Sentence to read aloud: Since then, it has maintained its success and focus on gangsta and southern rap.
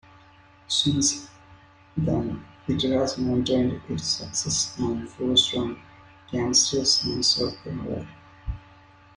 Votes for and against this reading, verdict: 0, 2, rejected